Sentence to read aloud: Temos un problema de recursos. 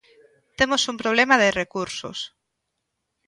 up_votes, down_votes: 3, 0